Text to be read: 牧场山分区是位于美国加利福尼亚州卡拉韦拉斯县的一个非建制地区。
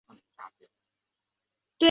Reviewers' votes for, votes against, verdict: 0, 3, rejected